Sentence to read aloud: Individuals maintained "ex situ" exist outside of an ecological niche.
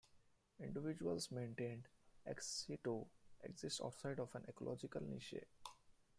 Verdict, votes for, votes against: rejected, 0, 2